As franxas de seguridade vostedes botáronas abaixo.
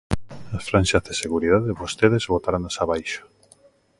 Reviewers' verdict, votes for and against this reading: accepted, 2, 0